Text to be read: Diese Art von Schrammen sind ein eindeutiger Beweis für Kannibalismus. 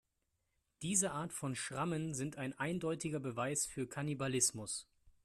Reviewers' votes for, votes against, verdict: 2, 0, accepted